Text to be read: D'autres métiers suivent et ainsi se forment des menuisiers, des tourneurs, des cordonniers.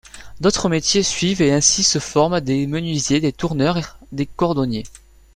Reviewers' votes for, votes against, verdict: 2, 0, accepted